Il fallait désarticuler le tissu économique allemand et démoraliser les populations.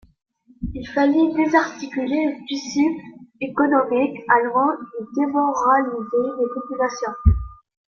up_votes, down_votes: 0, 2